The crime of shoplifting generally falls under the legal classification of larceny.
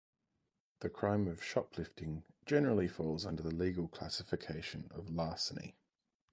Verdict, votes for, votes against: accepted, 2, 0